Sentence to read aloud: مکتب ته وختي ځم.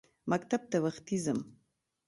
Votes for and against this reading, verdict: 2, 1, accepted